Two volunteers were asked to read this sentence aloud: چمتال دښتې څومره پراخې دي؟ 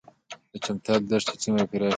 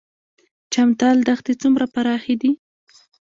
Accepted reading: first